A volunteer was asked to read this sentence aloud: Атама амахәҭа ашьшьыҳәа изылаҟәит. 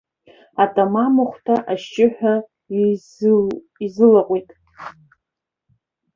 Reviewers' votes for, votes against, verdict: 0, 2, rejected